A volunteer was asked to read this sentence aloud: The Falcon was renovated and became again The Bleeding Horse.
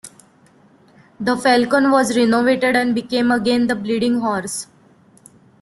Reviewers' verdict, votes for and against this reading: rejected, 0, 2